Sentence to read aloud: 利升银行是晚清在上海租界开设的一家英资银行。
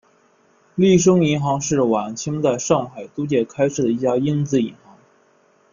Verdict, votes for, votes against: accepted, 2, 0